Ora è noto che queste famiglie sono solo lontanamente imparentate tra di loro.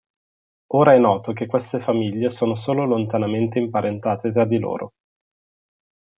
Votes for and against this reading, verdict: 3, 0, accepted